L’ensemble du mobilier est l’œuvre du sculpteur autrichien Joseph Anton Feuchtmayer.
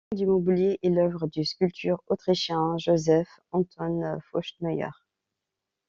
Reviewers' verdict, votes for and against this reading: rejected, 0, 2